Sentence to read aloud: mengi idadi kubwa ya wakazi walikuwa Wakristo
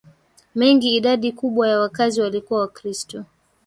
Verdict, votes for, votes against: rejected, 1, 2